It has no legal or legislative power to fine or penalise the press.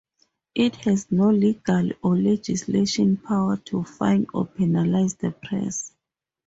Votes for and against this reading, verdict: 0, 2, rejected